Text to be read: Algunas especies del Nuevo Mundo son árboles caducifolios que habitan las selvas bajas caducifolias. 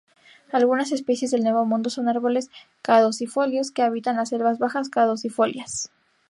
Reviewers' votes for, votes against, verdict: 2, 0, accepted